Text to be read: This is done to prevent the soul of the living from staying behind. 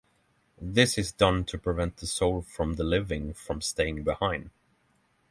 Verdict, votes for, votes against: rejected, 3, 3